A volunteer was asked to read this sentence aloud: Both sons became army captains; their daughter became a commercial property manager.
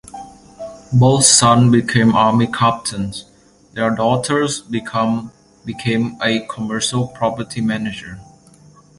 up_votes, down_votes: 0, 3